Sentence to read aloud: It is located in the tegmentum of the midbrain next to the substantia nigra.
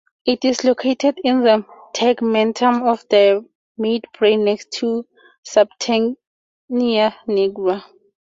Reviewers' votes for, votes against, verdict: 0, 2, rejected